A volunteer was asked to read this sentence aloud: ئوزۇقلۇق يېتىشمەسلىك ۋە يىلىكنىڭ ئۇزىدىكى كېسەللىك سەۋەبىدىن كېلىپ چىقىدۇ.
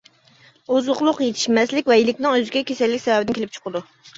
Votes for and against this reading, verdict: 0, 2, rejected